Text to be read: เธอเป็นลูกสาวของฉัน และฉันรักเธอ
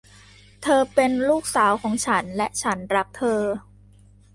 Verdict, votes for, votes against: accepted, 2, 0